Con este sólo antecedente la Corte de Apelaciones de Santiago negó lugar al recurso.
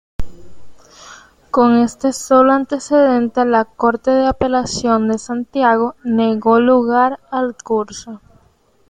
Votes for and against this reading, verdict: 1, 2, rejected